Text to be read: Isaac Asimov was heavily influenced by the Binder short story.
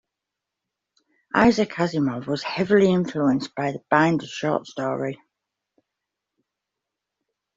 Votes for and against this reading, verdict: 2, 0, accepted